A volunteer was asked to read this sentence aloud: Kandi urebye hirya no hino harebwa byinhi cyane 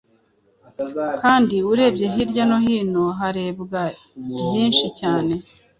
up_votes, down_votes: 0, 2